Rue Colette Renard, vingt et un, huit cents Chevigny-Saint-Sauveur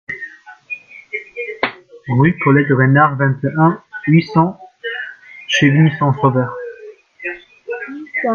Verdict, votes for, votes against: rejected, 1, 2